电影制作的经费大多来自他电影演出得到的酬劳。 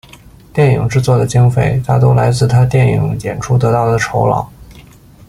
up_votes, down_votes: 2, 0